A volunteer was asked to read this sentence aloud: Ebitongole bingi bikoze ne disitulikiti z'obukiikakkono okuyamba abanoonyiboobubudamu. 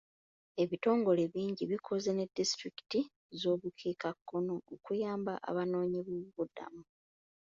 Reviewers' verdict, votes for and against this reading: rejected, 1, 2